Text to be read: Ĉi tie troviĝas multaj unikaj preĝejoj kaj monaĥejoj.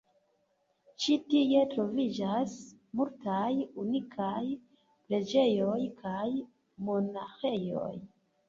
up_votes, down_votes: 2, 1